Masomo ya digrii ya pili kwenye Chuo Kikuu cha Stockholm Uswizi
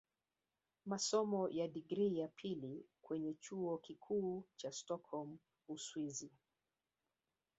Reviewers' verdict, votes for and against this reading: rejected, 1, 2